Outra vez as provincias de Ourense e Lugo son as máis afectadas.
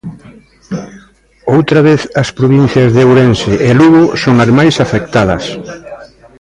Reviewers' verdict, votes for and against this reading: accepted, 2, 0